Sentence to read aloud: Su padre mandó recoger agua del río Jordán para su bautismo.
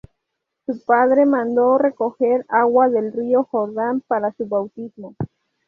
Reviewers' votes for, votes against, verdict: 2, 2, rejected